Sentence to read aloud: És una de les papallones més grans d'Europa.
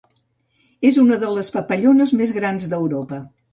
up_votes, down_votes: 2, 0